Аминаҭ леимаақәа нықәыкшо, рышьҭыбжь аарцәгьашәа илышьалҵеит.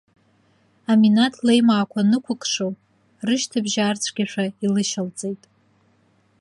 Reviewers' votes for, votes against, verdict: 2, 0, accepted